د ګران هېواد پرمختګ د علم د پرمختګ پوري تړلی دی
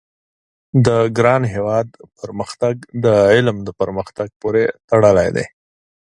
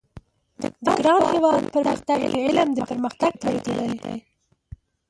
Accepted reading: first